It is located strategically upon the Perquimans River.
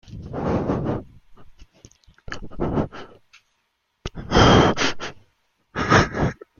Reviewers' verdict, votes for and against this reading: rejected, 0, 2